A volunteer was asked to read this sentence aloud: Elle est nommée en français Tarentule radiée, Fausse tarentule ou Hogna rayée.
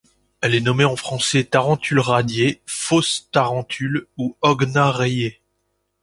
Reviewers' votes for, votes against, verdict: 2, 0, accepted